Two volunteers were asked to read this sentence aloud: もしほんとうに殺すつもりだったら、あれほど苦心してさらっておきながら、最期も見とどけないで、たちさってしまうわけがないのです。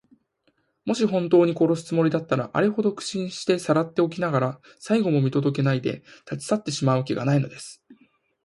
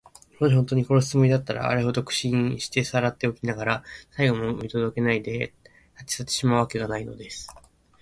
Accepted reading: second